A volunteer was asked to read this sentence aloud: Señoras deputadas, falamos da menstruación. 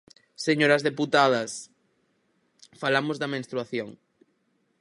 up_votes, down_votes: 4, 0